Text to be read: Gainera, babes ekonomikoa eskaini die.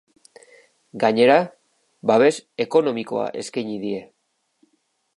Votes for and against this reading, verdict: 1, 2, rejected